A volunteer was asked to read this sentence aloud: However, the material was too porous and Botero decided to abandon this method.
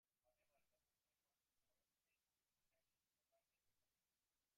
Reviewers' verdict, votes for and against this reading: rejected, 0, 2